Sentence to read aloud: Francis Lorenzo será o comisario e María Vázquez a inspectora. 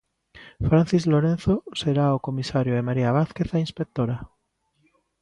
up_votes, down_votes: 2, 0